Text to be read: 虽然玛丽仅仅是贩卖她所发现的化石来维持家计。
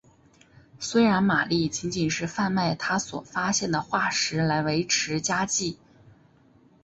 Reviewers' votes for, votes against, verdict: 4, 0, accepted